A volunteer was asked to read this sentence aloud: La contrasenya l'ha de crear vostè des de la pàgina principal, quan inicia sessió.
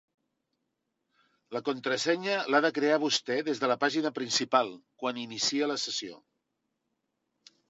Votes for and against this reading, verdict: 1, 2, rejected